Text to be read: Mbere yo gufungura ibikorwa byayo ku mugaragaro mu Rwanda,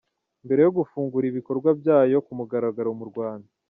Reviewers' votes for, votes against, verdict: 2, 0, accepted